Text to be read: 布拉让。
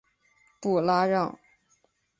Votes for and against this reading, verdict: 2, 0, accepted